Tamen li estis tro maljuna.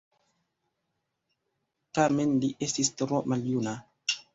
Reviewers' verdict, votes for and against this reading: rejected, 0, 3